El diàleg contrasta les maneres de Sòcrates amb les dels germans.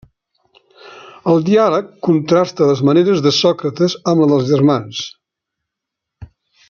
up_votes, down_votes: 1, 2